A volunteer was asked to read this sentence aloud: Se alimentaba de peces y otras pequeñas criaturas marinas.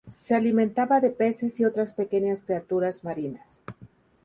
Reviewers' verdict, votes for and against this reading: accepted, 2, 0